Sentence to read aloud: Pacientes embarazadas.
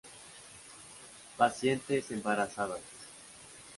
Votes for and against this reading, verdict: 2, 0, accepted